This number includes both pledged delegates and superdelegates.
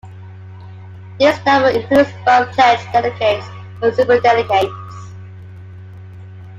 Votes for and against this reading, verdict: 2, 0, accepted